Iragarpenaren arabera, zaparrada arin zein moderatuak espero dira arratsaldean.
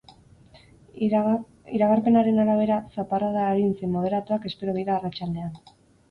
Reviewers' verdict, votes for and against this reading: rejected, 0, 4